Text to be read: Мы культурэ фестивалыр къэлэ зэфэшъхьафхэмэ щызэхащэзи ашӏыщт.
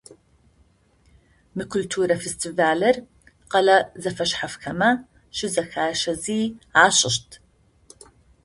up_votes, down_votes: 2, 0